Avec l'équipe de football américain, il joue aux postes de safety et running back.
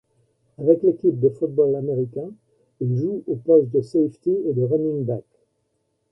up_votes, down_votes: 1, 2